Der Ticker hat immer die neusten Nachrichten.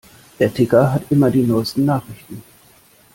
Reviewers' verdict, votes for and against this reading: accepted, 2, 0